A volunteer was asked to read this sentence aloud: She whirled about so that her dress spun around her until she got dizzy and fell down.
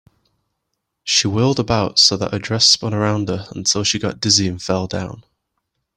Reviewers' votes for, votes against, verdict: 2, 0, accepted